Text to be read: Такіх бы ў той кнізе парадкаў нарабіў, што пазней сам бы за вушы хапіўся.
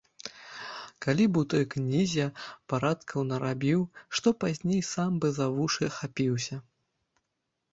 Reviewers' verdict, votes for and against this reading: rejected, 1, 2